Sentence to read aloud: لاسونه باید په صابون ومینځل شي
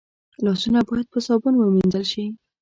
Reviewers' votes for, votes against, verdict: 2, 0, accepted